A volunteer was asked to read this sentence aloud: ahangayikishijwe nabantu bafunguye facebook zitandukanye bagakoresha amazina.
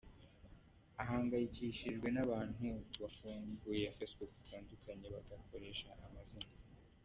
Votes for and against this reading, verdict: 0, 2, rejected